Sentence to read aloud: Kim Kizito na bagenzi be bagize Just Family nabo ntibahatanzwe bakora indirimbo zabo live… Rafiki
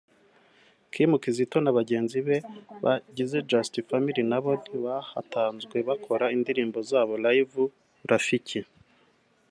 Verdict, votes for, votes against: accepted, 2, 0